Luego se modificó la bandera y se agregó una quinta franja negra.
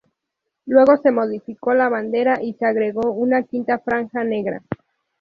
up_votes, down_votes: 2, 2